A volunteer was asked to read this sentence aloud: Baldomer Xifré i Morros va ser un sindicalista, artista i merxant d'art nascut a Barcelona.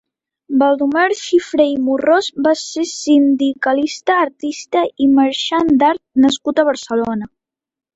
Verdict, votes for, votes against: rejected, 0, 2